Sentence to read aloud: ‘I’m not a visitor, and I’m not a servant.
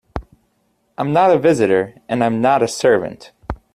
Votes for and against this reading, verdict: 2, 0, accepted